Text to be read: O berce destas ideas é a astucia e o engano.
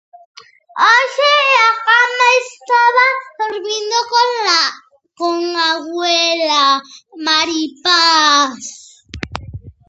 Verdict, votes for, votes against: rejected, 0, 2